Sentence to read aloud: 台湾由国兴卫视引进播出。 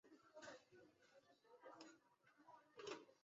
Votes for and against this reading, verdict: 1, 3, rejected